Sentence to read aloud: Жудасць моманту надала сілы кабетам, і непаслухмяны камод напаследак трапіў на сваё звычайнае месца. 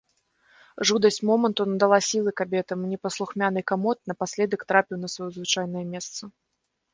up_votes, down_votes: 2, 0